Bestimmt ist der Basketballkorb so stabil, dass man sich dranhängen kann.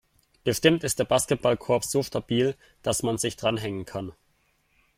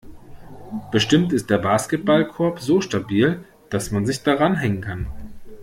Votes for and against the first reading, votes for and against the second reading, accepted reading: 2, 0, 1, 2, first